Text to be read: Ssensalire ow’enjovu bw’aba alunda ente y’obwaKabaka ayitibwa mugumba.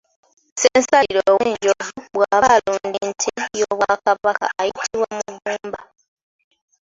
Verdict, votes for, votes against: rejected, 1, 2